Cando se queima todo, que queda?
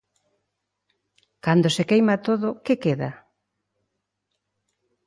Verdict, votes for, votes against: accepted, 2, 0